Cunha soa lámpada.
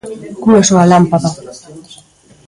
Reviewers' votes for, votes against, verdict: 0, 2, rejected